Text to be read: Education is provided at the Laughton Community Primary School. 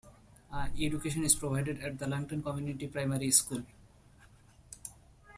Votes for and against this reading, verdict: 1, 2, rejected